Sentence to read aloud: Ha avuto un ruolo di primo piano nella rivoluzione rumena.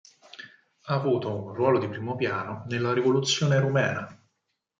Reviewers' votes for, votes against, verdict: 4, 0, accepted